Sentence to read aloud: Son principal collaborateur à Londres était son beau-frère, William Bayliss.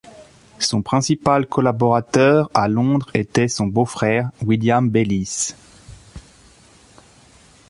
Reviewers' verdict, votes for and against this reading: accepted, 2, 0